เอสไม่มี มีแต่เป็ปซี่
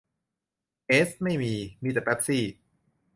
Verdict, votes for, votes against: accepted, 2, 0